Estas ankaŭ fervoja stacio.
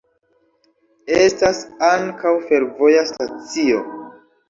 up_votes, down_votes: 2, 0